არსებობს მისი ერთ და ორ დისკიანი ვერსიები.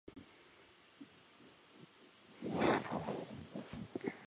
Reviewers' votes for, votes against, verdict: 0, 2, rejected